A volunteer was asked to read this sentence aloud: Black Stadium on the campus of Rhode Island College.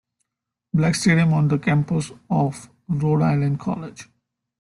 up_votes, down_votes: 2, 0